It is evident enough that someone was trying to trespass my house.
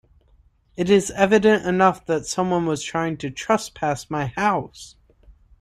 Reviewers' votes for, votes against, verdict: 2, 0, accepted